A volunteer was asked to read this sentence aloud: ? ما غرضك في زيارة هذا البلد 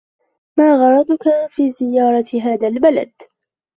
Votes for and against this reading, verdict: 0, 2, rejected